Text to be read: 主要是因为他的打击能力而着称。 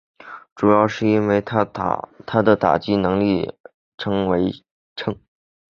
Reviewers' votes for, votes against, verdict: 1, 4, rejected